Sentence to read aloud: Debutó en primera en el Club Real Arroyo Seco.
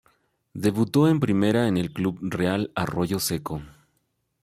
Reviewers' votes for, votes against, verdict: 2, 0, accepted